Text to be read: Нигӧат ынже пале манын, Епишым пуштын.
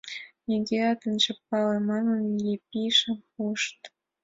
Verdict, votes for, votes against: rejected, 2, 3